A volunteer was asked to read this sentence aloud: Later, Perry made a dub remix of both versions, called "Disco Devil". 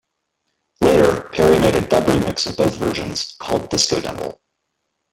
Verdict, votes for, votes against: rejected, 1, 2